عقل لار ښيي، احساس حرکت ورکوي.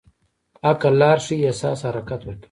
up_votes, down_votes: 1, 2